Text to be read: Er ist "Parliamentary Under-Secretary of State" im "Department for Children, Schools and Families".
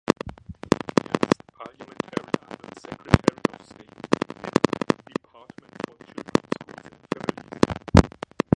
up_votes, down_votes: 0, 2